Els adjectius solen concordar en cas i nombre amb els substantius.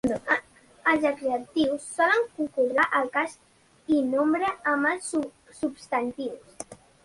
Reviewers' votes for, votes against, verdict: 0, 2, rejected